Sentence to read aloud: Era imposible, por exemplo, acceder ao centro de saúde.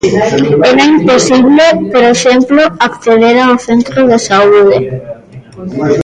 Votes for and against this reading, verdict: 0, 2, rejected